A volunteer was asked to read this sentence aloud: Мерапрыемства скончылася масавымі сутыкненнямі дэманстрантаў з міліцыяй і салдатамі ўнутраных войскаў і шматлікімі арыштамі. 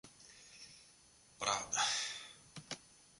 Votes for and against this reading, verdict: 0, 2, rejected